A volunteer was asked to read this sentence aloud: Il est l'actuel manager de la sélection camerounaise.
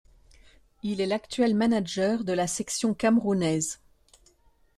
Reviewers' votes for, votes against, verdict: 1, 2, rejected